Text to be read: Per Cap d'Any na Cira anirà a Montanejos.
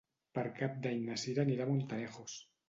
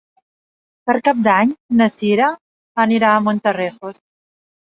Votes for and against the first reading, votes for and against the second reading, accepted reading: 2, 0, 2, 4, first